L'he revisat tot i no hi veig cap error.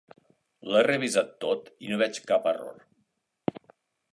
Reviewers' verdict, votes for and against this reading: rejected, 0, 2